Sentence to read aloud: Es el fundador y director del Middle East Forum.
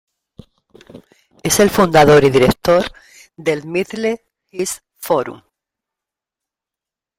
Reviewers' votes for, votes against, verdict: 1, 2, rejected